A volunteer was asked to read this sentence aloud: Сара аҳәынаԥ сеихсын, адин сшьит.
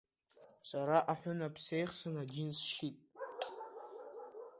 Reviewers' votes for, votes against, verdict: 1, 2, rejected